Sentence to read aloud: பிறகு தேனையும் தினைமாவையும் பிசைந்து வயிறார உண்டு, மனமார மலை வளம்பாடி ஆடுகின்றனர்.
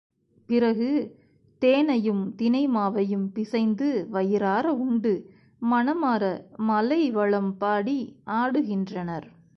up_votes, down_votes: 1, 2